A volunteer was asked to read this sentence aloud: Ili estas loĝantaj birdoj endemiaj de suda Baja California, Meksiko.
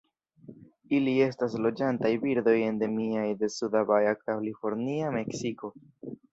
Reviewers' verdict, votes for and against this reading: rejected, 0, 2